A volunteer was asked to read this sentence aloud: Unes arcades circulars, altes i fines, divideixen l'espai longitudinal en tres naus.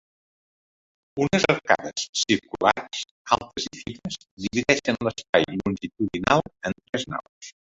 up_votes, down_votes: 0, 2